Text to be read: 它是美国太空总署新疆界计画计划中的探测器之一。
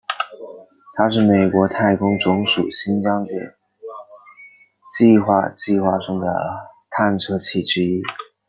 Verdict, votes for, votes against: rejected, 1, 2